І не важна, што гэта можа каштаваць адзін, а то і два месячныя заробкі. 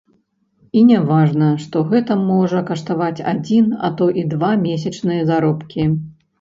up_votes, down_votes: 1, 2